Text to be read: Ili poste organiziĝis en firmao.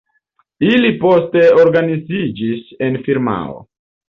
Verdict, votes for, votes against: rejected, 0, 2